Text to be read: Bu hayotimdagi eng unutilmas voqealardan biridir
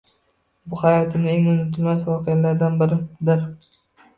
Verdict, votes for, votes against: rejected, 0, 2